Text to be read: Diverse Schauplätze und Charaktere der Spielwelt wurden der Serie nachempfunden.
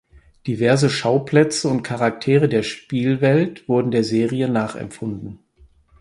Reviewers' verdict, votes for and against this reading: accepted, 4, 0